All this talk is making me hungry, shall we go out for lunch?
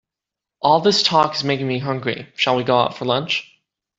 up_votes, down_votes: 2, 0